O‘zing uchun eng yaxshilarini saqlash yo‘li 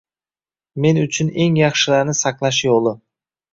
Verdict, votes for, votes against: rejected, 0, 2